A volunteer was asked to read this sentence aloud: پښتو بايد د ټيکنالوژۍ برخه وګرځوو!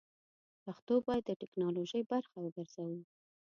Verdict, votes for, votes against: accepted, 2, 0